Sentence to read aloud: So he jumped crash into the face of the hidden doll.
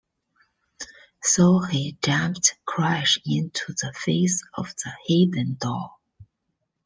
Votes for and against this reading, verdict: 2, 0, accepted